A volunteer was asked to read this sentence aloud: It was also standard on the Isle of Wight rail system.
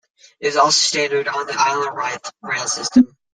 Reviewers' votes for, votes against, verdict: 0, 2, rejected